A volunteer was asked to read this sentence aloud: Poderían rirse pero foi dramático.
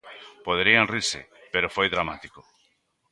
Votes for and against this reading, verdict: 2, 1, accepted